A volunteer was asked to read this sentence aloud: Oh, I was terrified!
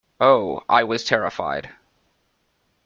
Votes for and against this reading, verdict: 2, 0, accepted